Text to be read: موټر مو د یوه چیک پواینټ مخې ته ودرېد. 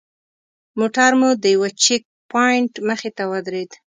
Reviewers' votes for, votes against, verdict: 2, 0, accepted